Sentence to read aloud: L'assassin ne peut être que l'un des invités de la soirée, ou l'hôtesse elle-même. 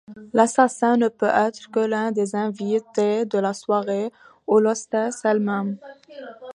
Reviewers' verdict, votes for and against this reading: rejected, 1, 2